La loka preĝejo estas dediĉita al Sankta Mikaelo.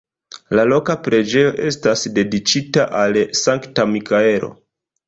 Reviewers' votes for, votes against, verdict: 1, 2, rejected